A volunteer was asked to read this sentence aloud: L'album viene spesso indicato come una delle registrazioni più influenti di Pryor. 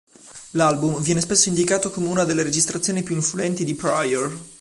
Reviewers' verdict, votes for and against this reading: accepted, 2, 0